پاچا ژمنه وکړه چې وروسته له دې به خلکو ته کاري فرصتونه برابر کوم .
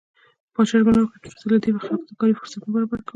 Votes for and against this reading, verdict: 1, 2, rejected